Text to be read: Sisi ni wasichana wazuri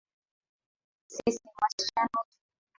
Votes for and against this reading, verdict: 0, 2, rejected